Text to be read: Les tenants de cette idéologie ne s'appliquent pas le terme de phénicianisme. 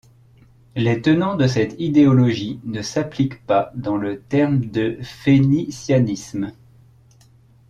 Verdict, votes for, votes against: rejected, 1, 2